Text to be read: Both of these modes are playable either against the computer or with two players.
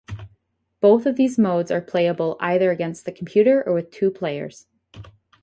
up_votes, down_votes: 4, 0